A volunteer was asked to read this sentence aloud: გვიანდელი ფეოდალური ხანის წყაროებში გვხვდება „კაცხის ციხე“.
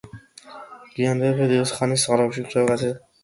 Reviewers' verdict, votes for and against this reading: rejected, 0, 2